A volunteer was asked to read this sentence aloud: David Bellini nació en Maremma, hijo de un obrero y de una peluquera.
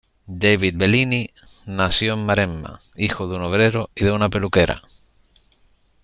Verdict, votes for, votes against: accepted, 2, 0